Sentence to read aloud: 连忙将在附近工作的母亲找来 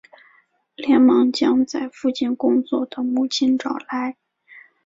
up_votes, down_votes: 4, 0